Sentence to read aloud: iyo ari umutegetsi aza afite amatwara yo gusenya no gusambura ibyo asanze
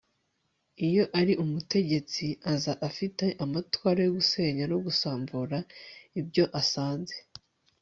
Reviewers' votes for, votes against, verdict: 2, 0, accepted